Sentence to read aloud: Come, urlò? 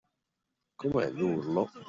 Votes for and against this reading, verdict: 0, 2, rejected